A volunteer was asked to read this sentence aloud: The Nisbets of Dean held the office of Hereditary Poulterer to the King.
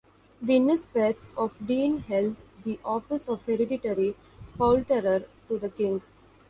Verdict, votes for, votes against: accepted, 2, 0